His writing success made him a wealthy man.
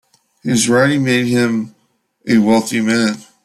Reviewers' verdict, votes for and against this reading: rejected, 0, 2